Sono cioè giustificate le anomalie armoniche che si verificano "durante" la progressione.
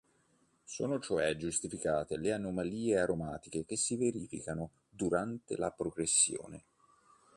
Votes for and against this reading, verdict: 1, 2, rejected